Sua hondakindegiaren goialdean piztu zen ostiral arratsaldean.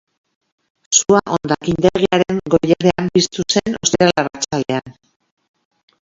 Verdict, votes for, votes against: rejected, 0, 3